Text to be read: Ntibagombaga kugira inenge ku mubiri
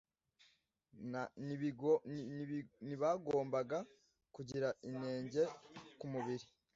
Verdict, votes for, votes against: rejected, 1, 2